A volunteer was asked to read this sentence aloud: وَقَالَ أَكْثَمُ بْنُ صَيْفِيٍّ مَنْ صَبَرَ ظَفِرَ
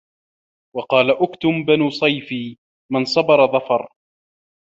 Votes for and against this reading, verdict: 1, 2, rejected